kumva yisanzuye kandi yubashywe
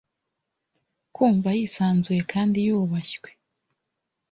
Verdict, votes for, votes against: accepted, 2, 0